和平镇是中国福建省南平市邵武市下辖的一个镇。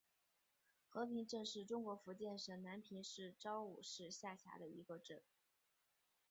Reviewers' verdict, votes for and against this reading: accepted, 2, 1